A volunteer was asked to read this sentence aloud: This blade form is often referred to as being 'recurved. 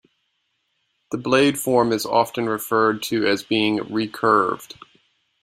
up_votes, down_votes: 1, 2